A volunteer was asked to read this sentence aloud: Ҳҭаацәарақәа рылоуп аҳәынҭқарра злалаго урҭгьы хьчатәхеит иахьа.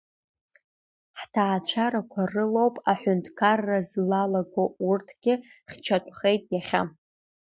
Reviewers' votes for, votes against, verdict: 2, 0, accepted